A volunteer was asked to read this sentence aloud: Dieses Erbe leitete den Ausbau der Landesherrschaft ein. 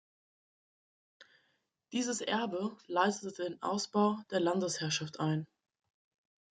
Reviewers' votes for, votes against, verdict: 1, 2, rejected